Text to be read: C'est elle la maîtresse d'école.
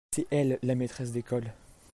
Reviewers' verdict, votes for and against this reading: accepted, 2, 0